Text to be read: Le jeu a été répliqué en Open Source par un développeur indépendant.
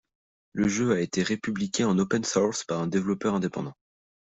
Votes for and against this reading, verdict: 0, 2, rejected